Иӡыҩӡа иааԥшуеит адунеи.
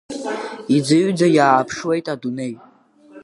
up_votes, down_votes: 2, 0